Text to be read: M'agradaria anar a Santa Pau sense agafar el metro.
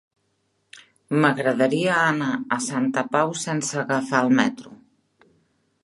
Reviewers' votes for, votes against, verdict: 3, 0, accepted